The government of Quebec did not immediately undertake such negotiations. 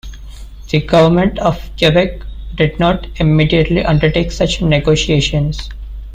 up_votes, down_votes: 2, 0